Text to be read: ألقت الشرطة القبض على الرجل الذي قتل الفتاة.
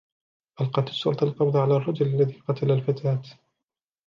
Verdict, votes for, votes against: accepted, 3, 2